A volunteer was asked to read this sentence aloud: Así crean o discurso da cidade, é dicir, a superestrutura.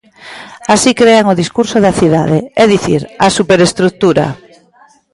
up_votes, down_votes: 1, 2